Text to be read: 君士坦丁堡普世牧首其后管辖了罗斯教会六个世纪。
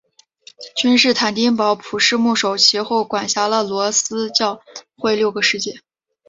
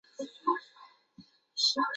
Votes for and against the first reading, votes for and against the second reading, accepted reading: 5, 0, 0, 3, first